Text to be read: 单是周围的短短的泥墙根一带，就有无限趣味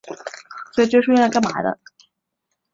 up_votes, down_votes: 0, 2